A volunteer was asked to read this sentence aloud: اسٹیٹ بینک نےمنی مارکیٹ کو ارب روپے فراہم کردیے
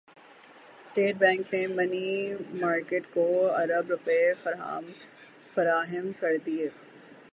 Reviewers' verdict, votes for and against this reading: rejected, 0, 6